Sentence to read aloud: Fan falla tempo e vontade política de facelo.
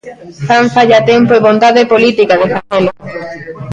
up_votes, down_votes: 1, 2